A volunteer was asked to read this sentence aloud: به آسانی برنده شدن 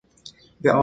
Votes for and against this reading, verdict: 0, 2, rejected